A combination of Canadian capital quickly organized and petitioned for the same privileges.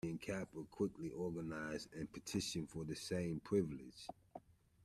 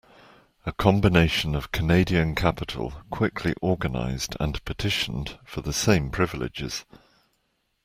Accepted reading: second